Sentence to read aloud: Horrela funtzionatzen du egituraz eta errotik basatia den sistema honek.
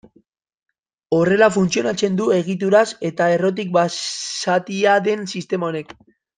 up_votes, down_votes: 0, 2